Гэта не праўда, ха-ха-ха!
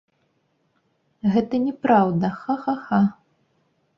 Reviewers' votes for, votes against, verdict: 0, 2, rejected